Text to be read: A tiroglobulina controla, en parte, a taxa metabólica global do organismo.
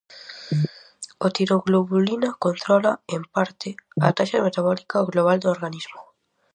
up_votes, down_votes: 4, 0